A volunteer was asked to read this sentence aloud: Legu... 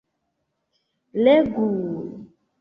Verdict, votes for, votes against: accepted, 2, 1